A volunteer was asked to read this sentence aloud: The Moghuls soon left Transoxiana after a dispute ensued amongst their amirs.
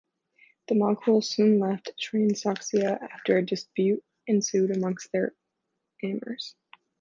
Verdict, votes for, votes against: rejected, 1, 2